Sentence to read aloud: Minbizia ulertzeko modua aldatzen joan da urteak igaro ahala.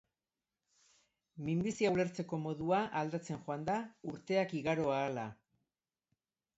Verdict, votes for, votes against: accepted, 2, 1